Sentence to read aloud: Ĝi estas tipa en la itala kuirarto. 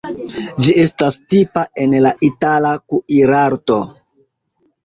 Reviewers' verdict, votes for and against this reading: accepted, 2, 0